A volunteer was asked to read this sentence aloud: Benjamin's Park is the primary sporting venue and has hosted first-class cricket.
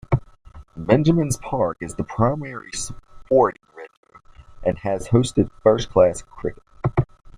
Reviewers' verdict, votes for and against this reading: rejected, 0, 2